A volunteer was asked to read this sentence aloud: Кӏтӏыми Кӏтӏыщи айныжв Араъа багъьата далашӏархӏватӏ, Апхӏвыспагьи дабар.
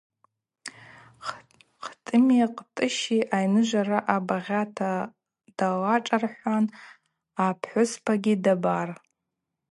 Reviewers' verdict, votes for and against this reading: accepted, 2, 0